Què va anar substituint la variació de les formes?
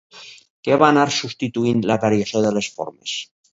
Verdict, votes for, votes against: accepted, 2, 0